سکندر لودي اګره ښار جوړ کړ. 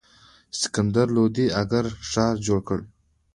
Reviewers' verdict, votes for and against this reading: accepted, 2, 0